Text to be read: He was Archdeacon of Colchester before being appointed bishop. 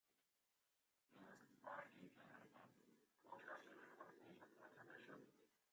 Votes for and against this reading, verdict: 0, 2, rejected